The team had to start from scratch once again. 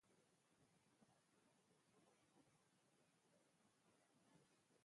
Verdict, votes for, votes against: rejected, 0, 4